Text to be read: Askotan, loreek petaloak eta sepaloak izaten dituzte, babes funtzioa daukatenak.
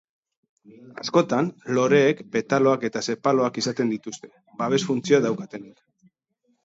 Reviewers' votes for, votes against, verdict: 2, 0, accepted